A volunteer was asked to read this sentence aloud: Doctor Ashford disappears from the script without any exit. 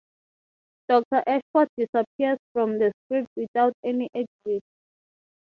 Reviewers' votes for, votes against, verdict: 6, 0, accepted